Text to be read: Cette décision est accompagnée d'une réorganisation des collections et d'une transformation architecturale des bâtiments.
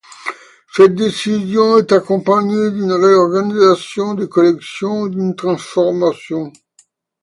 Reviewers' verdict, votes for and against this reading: rejected, 0, 2